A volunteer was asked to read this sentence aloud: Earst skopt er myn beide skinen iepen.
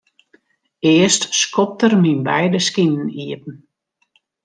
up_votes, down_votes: 2, 0